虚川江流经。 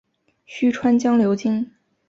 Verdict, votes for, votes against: accepted, 3, 0